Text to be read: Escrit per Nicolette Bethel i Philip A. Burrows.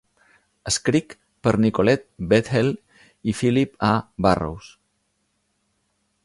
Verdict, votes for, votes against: rejected, 0, 2